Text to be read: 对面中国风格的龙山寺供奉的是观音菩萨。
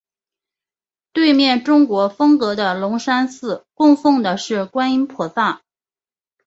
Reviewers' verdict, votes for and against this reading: accepted, 4, 0